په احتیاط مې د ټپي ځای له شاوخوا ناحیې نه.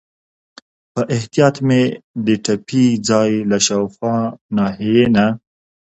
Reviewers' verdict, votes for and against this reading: accepted, 2, 1